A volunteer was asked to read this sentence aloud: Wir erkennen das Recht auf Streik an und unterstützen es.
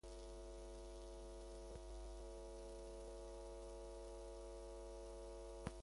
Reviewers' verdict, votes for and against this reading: rejected, 0, 2